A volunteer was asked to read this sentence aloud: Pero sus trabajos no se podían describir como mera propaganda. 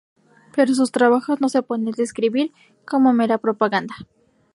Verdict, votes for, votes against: rejected, 0, 2